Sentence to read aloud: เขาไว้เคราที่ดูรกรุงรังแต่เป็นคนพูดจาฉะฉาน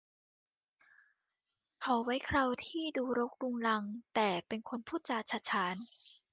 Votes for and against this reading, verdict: 2, 0, accepted